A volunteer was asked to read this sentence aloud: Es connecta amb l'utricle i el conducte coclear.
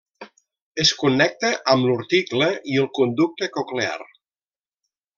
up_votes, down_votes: 1, 2